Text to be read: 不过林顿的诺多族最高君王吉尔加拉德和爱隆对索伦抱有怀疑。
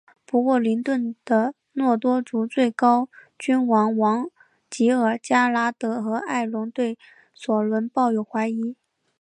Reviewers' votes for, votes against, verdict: 0, 2, rejected